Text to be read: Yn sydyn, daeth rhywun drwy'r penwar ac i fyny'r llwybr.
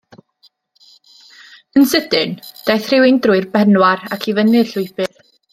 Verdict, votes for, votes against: rejected, 1, 2